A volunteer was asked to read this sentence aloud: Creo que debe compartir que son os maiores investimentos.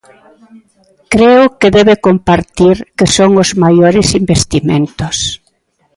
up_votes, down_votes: 2, 1